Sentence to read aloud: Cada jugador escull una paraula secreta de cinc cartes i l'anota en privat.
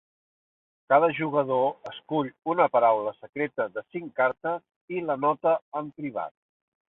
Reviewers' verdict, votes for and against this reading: accepted, 2, 1